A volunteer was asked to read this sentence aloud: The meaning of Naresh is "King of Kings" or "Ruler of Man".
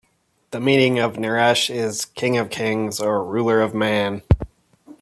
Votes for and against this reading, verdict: 2, 0, accepted